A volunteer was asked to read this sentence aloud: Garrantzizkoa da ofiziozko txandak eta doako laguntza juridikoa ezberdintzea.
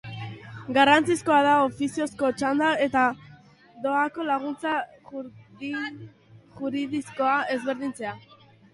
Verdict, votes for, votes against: rejected, 0, 2